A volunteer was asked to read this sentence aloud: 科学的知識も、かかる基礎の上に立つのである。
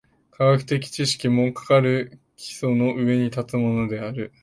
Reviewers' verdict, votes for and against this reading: rejected, 0, 2